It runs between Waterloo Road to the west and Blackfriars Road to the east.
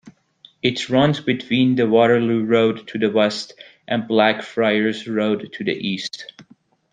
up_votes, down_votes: 0, 2